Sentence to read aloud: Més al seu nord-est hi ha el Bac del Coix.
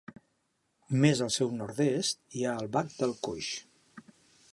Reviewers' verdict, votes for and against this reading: accepted, 3, 0